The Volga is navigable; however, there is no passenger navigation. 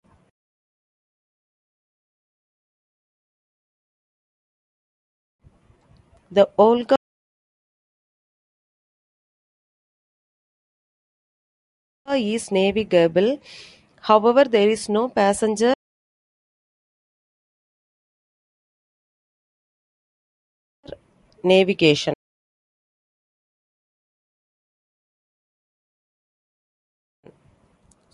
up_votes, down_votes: 0, 2